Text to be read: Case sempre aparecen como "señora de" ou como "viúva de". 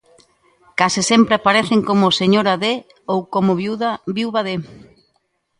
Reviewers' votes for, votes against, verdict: 0, 2, rejected